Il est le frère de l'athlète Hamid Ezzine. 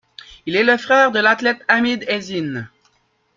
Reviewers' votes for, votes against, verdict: 2, 1, accepted